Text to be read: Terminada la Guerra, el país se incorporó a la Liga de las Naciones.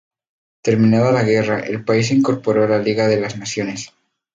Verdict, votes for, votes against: rejected, 0, 2